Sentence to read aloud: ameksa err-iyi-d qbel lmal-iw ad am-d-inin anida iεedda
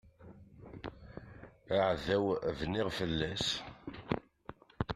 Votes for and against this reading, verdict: 0, 2, rejected